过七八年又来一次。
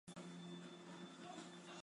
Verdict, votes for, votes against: rejected, 0, 3